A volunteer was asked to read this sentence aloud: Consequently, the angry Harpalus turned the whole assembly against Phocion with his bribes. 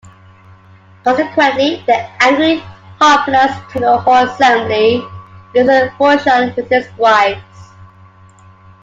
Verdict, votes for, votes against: rejected, 1, 2